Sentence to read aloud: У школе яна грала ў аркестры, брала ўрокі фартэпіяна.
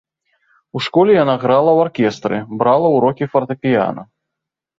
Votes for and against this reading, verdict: 2, 0, accepted